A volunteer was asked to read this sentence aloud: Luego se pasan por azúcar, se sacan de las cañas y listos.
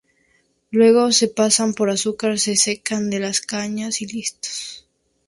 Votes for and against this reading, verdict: 0, 2, rejected